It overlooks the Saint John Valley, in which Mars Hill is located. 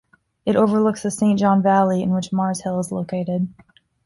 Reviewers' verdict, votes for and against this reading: accepted, 2, 0